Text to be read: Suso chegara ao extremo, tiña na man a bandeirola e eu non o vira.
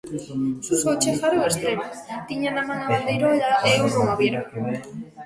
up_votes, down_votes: 0, 2